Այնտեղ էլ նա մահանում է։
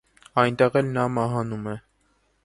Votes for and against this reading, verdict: 2, 0, accepted